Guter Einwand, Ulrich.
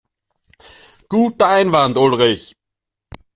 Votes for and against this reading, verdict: 2, 0, accepted